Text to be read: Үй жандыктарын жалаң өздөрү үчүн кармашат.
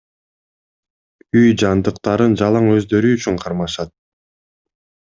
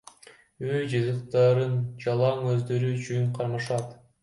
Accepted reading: first